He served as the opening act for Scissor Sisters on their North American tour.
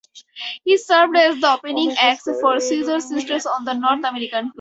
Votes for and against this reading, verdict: 0, 4, rejected